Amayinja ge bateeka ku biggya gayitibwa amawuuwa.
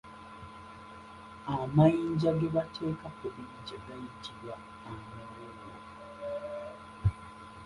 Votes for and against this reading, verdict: 0, 2, rejected